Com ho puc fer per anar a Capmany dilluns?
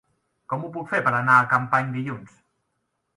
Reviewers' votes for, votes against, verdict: 1, 2, rejected